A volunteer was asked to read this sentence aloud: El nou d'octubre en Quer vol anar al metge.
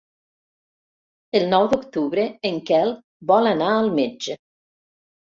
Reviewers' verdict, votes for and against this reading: rejected, 1, 2